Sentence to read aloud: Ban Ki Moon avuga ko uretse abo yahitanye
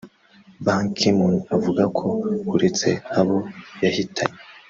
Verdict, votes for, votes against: rejected, 0, 2